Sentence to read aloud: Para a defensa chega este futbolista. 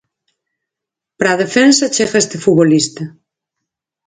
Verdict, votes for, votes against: accepted, 4, 0